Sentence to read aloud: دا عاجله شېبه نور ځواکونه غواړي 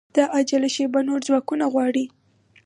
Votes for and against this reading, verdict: 4, 0, accepted